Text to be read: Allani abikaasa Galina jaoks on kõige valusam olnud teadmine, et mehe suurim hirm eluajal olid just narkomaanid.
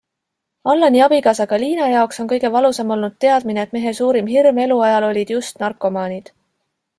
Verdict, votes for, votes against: accepted, 2, 0